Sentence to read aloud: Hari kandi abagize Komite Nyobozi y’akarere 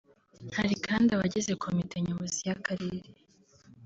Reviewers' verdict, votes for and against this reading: rejected, 0, 2